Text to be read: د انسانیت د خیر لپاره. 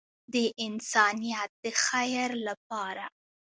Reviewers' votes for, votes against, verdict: 1, 2, rejected